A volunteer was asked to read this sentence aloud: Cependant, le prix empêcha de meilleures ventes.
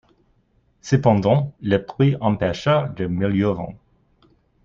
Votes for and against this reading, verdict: 1, 2, rejected